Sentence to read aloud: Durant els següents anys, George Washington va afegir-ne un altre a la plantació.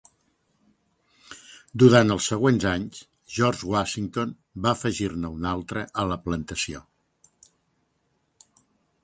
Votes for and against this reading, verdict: 3, 0, accepted